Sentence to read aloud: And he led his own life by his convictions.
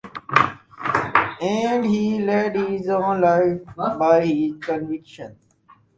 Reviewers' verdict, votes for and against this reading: rejected, 0, 4